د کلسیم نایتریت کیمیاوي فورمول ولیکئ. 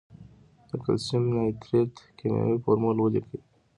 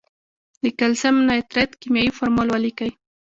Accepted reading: first